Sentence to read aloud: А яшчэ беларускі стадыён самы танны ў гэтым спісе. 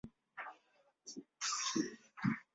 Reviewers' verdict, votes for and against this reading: rejected, 0, 2